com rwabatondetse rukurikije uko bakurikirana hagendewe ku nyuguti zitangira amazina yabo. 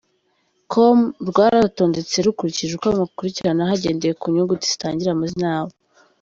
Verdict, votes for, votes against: rejected, 0, 2